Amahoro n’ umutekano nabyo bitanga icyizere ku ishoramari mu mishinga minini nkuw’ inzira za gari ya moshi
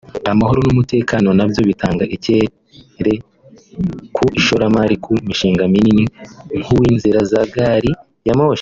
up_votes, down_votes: 0, 2